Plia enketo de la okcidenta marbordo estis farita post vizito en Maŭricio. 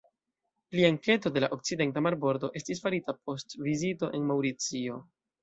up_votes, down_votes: 2, 0